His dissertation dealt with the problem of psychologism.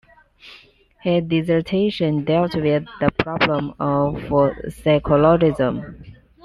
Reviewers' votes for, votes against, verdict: 2, 0, accepted